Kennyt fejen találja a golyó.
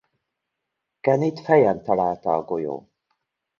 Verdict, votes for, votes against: rejected, 0, 2